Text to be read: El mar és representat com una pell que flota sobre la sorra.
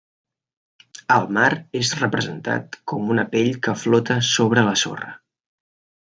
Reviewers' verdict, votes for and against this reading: accepted, 3, 0